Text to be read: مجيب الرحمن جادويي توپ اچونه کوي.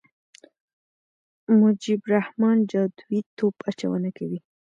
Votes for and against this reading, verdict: 2, 1, accepted